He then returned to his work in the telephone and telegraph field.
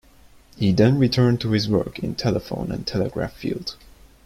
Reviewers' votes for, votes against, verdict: 1, 2, rejected